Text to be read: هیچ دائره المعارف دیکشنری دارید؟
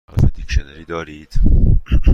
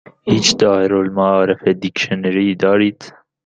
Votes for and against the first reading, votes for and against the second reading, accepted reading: 1, 2, 2, 0, second